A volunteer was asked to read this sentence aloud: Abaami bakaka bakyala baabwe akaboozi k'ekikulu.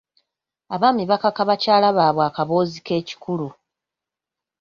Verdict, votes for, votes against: accepted, 2, 0